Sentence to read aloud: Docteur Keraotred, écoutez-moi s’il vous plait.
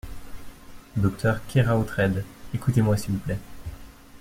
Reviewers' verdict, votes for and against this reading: accepted, 2, 0